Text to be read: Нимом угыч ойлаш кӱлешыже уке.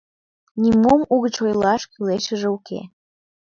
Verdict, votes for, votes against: accepted, 2, 0